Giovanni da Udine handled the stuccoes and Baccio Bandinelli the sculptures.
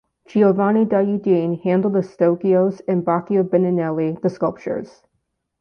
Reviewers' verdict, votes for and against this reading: accepted, 2, 0